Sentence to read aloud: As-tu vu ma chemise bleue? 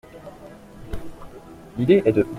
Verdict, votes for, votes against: rejected, 0, 2